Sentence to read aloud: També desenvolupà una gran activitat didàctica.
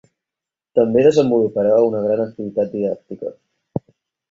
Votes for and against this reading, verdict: 2, 4, rejected